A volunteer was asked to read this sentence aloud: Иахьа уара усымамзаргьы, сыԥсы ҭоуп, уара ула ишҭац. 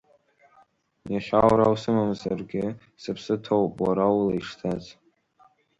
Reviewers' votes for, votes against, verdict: 3, 2, accepted